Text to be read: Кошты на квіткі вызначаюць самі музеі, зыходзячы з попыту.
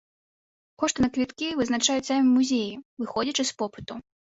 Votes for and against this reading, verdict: 2, 0, accepted